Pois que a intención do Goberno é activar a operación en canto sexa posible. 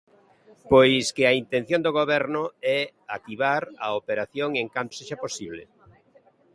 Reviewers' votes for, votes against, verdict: 2, 0, accepted